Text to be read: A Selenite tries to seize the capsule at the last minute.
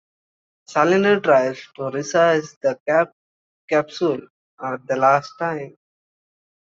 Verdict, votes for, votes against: rejected, 1, 2